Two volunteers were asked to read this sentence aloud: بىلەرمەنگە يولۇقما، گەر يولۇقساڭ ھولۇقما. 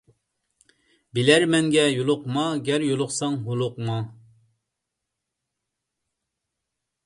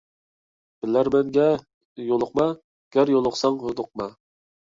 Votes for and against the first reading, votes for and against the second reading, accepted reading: 2, 0, 1, 2, first